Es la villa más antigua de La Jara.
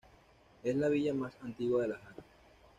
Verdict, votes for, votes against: rejected, 0, 2